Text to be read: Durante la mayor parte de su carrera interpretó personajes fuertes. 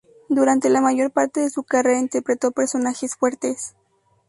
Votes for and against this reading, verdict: 2, 0, accepted